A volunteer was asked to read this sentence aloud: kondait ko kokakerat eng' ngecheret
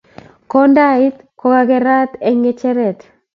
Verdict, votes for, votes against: accepted, 2, 0